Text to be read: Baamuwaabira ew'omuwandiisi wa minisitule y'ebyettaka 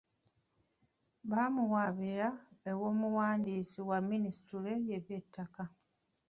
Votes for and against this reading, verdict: 2, 0, accepted